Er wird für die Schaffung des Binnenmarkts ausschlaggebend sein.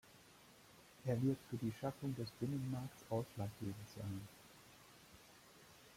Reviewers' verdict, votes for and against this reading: accepted, 2, 0